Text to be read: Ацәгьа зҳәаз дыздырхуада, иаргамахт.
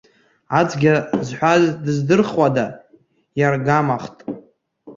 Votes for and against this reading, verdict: 0, 2, rejected